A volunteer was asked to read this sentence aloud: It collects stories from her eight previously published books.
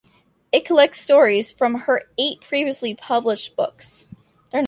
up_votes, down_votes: 1, 2